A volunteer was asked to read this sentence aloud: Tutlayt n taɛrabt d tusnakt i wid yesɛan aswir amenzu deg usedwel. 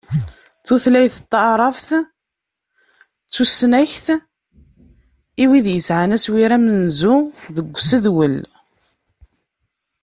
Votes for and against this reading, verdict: 0, 2, rejected